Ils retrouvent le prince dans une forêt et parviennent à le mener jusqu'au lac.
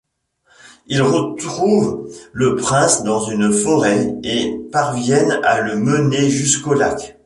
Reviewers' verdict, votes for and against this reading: accepted, 2, 0